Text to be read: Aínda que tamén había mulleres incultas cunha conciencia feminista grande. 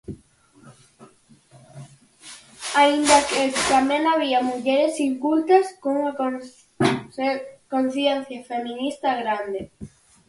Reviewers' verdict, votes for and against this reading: rejected, 0, 4